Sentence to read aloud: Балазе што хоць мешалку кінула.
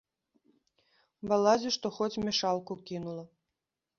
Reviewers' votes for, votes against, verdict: 0, 2, rejected